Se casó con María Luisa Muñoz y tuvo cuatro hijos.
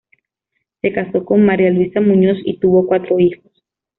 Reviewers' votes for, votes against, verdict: 2, 0, accepted